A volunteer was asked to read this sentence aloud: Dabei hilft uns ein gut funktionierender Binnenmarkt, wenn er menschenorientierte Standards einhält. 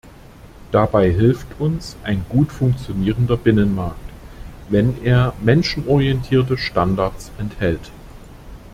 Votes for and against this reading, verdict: 0, 2, rejected